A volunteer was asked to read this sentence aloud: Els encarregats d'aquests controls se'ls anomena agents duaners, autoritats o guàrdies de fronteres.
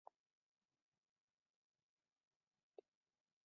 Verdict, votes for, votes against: rejected, 0, 2